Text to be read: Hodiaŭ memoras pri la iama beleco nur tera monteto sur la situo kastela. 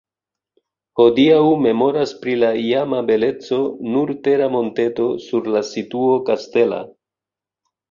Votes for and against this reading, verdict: 2, 0, accepted